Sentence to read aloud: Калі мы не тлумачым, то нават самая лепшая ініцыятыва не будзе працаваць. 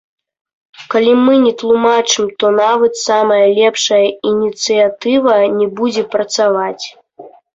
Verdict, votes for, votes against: accepted, 2, 1